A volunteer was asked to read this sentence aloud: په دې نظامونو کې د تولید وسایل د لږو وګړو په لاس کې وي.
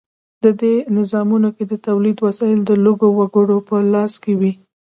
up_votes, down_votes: 2, 1